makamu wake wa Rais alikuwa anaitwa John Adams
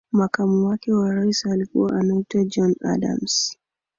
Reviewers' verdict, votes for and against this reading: accepted, 2, 1